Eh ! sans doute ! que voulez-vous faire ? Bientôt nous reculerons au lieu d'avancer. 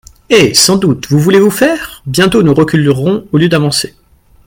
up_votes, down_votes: 0, 2